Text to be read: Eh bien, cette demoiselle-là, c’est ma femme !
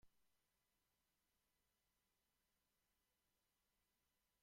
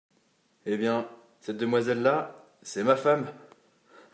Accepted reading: second